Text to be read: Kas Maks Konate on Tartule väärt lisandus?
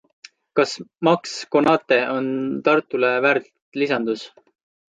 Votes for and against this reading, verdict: 2, 0, accepted